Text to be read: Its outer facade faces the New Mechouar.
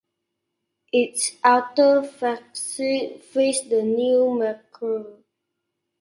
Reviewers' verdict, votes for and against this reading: rejected, 1, 2